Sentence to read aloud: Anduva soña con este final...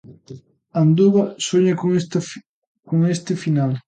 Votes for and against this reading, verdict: 1, 2, rejected